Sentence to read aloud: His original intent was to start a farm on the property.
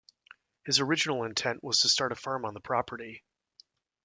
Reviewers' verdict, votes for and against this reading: rejected, 1, 2